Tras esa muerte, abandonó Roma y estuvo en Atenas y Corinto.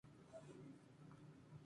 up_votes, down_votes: 2, 2